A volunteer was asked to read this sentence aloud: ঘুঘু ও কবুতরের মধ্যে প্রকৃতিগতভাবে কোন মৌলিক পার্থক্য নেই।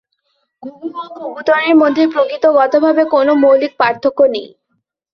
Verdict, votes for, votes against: rejected, 3, 4